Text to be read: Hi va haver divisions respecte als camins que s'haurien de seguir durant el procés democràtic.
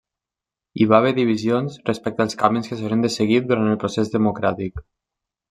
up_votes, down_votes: 1, 2